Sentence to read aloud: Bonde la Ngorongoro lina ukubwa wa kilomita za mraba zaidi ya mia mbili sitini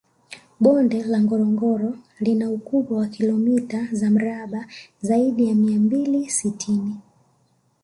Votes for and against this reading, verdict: 2, 0, accepted